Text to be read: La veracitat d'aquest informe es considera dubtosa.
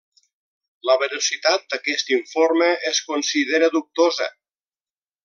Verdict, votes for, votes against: accepted, 2, 0